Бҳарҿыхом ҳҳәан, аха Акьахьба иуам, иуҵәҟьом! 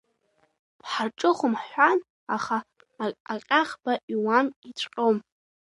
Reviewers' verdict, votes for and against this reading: rejected, 1, 2